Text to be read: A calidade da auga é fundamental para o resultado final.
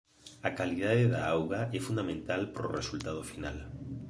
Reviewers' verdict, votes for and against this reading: accepted, 2, 1